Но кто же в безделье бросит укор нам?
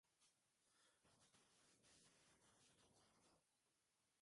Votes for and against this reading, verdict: 0, 2, rejected